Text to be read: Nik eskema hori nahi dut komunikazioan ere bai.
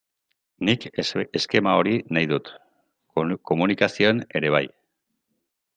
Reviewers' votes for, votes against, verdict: 0, 2, rejected